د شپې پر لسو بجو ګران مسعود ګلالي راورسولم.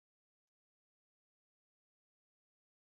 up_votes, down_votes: 1, 2